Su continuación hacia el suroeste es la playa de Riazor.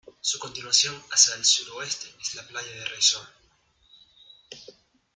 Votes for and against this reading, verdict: 0, 2, rejected